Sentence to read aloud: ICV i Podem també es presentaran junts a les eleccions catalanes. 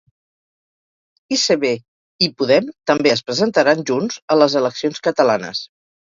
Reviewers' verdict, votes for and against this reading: rejected, 2, 2